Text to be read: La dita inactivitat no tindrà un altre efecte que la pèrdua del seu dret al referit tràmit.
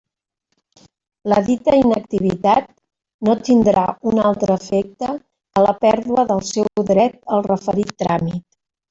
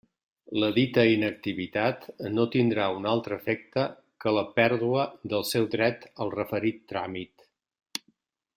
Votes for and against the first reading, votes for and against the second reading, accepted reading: 0, 2, 3, 0, second